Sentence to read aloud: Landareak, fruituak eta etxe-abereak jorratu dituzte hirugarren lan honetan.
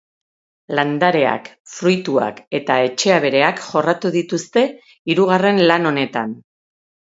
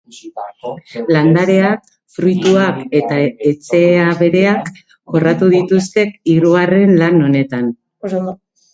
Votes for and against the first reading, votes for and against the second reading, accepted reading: 4, 0, 0, 2, first